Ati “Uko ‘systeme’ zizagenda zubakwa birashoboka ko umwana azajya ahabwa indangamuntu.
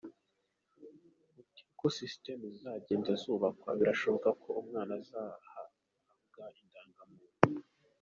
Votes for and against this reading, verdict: 0, 2, rejected